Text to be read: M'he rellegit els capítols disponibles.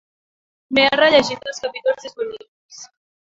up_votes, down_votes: 2, 1